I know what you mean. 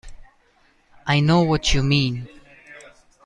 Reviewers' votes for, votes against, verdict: 2, 0, accepted